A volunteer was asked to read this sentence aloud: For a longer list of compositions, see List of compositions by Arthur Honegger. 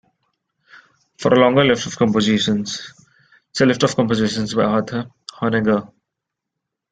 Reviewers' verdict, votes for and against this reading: accepted, 2, 1